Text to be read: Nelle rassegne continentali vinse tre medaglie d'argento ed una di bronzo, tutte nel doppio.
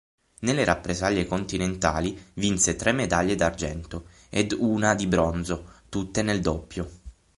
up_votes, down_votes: 0, 6